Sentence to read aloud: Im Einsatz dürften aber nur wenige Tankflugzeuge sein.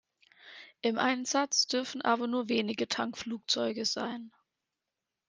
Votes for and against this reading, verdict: 0, 2, rejected